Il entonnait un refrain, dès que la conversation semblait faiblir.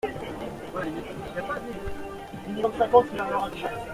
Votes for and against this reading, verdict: 0, 2, rejected